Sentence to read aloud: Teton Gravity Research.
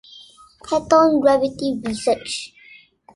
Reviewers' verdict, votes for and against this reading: rejected, 1, 2